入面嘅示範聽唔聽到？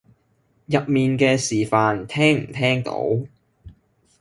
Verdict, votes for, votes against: accepted, 2, 0